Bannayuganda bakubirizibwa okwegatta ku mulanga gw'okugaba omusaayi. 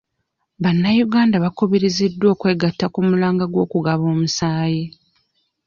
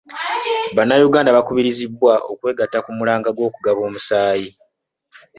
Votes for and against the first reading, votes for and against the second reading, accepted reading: 0, 2, 2, 0, second